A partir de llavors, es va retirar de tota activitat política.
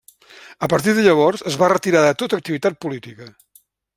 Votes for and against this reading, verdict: 3, 0, accepted